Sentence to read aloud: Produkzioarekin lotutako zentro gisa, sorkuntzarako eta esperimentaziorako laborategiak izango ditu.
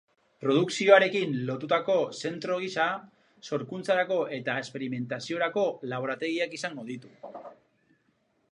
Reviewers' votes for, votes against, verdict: 2, 2, rejected